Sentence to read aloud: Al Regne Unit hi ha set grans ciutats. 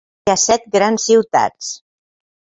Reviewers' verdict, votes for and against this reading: rejected, 0, 2